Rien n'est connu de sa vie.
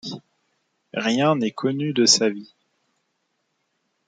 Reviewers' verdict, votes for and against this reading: accepted, 2, 0